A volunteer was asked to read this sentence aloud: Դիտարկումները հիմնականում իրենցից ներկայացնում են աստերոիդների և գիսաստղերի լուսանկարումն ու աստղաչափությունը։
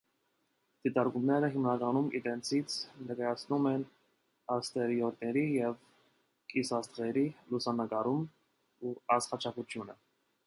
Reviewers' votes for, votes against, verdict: 2, 0, accepted